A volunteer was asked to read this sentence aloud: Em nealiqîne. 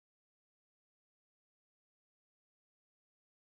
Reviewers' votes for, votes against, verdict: 0, 2, rejected